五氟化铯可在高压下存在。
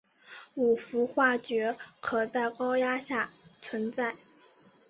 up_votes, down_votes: 3, 0